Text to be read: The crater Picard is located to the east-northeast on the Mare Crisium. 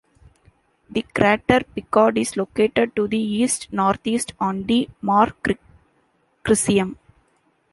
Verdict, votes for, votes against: rejected, 0, 2